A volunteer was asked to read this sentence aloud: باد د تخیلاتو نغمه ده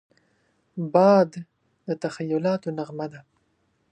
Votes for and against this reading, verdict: 2, 0, accepted